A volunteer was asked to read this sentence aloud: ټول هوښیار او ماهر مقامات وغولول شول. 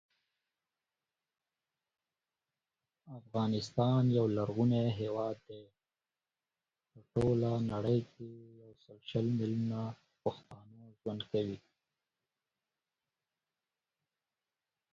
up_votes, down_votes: 0, 2